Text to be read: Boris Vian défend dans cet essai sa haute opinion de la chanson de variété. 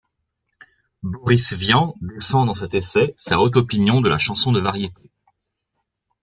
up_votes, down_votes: 1, 2